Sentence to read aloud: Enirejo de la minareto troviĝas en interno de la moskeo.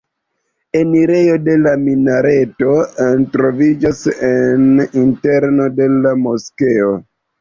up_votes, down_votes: 2, 0